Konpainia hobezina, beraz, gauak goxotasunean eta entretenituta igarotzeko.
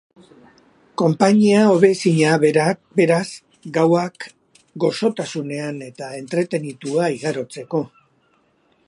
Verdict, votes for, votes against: rejected, 4, 11